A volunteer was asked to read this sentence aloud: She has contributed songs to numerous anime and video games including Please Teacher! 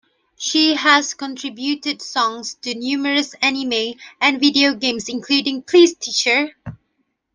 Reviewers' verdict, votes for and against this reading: accepted, 2, 1